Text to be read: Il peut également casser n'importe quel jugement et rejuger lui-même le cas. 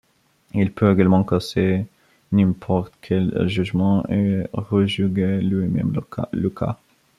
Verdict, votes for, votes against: rejected, 0, 2